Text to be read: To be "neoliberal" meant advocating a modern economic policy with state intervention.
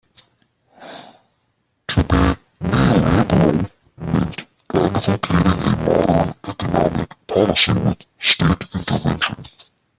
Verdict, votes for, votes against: rejected, 0, 2